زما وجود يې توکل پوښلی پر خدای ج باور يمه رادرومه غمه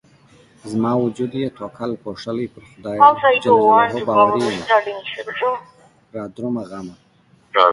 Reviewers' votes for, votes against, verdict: 0, 2, rejected